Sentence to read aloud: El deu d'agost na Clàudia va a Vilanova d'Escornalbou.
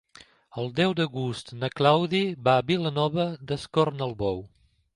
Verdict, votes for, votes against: rejected, 0, 2